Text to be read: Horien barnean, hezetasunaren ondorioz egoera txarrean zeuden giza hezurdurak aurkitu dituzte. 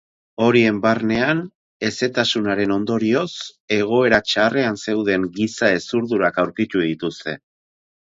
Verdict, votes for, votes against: accepted, 4, 0